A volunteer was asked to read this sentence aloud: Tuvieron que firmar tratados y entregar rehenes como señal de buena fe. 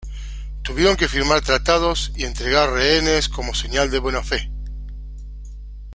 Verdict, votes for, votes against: accepted, 2, 0